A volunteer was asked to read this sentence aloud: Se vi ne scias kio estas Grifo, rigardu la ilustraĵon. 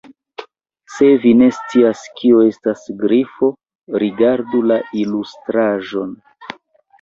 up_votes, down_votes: 1, 2